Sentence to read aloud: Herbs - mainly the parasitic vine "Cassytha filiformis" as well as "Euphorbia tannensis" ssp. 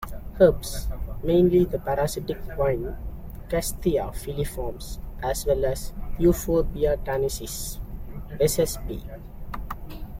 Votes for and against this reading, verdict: 0, 2, rejected